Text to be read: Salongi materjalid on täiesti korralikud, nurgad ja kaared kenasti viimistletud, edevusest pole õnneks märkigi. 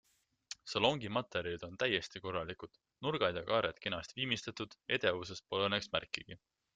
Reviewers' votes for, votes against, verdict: 2, 0, accepted